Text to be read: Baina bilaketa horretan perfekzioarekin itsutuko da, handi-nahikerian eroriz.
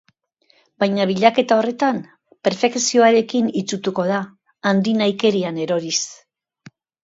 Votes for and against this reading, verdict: 1, 2, rejected